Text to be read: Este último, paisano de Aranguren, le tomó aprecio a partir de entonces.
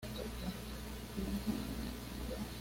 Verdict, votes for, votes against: rejected, 1, 2